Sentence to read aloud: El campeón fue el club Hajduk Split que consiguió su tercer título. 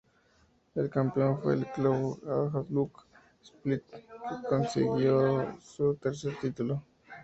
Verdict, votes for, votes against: rejected, 0, 2